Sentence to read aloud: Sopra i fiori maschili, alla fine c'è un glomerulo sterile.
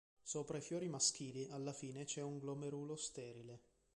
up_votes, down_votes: 3, 0